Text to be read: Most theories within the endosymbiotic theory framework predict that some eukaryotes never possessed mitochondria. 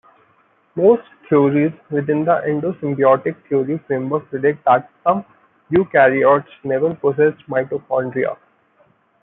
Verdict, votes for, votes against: rejected, 0, 2